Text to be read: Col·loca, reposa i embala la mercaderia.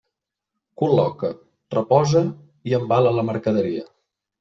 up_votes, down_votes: 3, 0